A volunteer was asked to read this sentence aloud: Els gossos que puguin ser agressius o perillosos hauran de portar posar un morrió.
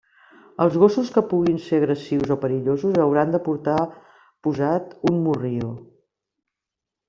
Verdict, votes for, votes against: accepted, 2, 0